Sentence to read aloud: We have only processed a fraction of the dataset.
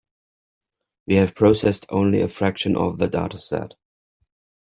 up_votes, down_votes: 0, 2